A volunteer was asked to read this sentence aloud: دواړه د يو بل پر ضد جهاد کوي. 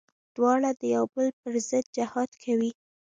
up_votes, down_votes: 2, 1